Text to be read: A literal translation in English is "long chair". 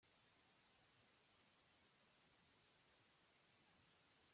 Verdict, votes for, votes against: rejected, 0, 2